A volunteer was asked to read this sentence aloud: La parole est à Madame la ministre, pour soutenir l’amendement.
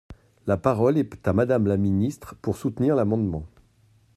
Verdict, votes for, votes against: rejected, 0, 2